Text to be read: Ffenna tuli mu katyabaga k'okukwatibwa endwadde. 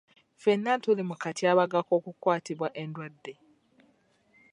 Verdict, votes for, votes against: accepted, 2, 0